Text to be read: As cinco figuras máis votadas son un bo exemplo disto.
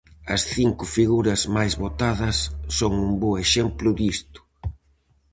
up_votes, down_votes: 4, 0